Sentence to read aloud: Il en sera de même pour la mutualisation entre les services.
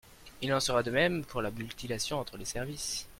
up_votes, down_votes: 1, 2